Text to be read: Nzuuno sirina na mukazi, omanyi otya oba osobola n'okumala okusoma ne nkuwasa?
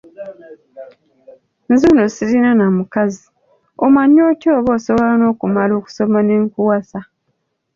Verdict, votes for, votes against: accepted, 2, 0